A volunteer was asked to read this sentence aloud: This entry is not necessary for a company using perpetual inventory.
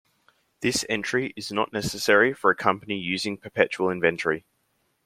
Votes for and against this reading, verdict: 2, 0, accepted